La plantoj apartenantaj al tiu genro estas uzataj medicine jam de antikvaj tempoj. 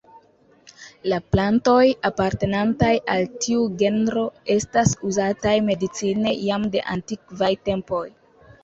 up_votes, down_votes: 2, 0